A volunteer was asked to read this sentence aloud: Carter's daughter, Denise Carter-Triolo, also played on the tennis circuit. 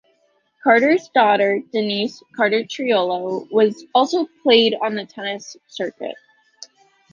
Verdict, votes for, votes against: rejected, 0, 2